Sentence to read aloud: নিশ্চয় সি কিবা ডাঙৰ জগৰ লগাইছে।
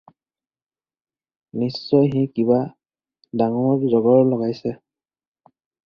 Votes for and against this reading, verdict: 4, 0, accepted